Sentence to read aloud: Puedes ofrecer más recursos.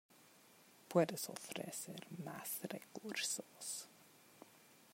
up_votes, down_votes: 2, 1